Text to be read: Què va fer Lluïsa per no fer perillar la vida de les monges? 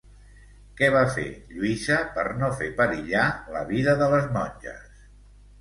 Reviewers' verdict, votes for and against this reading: rejected, 1, 2